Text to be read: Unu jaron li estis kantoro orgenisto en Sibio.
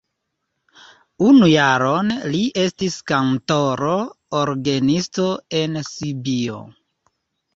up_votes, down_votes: 2, 1